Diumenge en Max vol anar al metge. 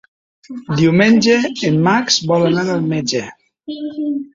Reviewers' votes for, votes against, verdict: 2, 0, accepted